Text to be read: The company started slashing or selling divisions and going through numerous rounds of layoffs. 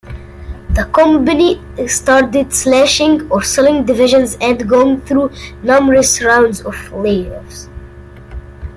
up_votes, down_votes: 2, 1